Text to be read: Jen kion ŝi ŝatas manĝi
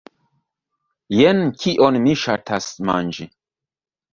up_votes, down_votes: 2, 0